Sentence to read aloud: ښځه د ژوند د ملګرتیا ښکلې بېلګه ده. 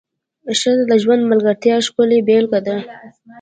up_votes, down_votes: 2, 0